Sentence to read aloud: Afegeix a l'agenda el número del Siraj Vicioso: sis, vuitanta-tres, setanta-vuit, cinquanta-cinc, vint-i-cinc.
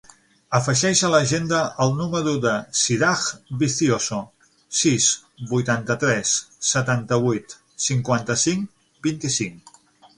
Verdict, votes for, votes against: rejected, 3, 6